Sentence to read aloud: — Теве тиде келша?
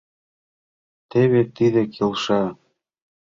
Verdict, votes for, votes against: accepted, 3, 0